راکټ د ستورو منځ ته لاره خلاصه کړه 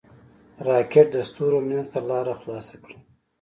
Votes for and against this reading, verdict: 2, 0, accepted